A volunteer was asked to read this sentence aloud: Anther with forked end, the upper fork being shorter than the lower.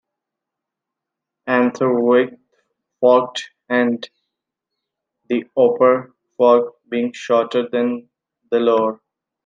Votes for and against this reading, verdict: 2, 1, accepted